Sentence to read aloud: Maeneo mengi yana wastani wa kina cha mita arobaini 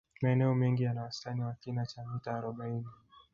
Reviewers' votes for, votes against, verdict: 0, 2, rejected